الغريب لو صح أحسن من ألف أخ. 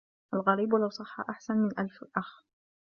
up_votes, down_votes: 1, 2